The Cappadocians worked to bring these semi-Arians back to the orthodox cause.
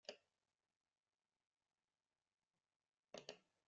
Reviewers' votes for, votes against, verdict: 0, 2, rejected